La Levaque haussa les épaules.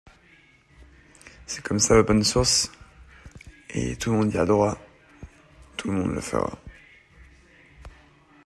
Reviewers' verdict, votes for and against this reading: rejected, 0, 2